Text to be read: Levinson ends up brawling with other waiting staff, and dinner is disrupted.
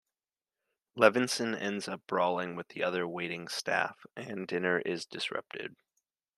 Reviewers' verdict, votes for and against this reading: rejected, 1, 2